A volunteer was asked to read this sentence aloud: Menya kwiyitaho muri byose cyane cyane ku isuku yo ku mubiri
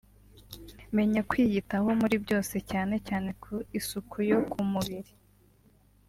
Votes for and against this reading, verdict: 3, 0, accepted